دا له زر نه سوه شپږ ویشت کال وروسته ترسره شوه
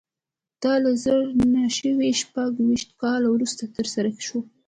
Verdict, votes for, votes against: accepted, 2, 0